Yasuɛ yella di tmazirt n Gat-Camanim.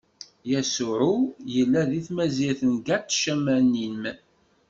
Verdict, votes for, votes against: rejected, 1, 2